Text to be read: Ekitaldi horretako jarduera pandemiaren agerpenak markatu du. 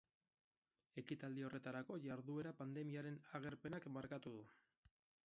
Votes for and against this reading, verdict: 2, 2, rejected